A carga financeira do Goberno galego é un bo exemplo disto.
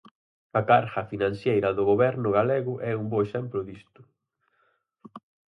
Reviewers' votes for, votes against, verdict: 0, 4, rejected